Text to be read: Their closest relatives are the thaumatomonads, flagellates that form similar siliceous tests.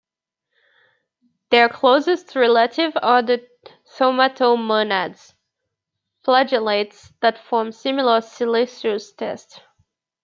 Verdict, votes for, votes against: accepted, 2, 0